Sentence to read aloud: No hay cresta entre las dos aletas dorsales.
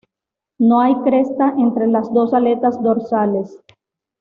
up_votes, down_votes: 2, 0